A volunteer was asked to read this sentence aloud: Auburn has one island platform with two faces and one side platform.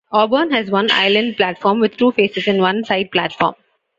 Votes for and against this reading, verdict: 2, 0, accepted